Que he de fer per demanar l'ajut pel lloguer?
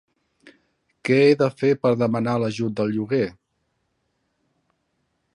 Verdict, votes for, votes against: rejected, 1, 2